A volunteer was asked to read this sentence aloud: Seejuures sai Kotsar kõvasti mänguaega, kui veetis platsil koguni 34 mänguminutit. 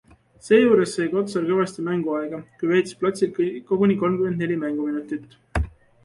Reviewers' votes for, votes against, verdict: 0, 2, rejected